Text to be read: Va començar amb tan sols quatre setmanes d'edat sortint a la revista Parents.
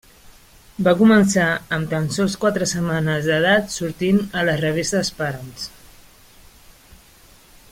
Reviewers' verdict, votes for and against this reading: rejected, 0, 2